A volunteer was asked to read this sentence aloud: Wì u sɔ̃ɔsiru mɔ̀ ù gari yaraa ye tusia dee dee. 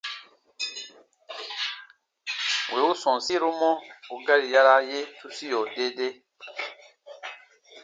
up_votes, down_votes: 2, 1